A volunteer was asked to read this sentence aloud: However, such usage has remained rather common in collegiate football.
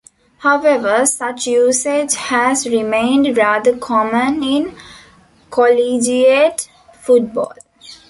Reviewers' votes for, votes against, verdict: 1, 2, rejected